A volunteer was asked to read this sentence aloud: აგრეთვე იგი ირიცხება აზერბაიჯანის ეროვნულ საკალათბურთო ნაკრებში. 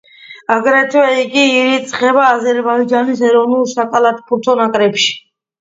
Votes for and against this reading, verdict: 2, 0, accepted